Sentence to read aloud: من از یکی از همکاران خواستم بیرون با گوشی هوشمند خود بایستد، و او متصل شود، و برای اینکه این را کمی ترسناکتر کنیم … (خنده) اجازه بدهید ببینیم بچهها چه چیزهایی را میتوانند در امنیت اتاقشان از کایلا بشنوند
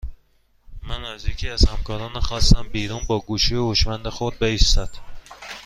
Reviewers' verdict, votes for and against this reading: rejected, 1, 2